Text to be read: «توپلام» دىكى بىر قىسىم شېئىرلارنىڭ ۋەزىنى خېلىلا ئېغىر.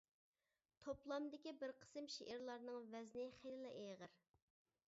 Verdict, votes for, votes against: rejected, 1, 2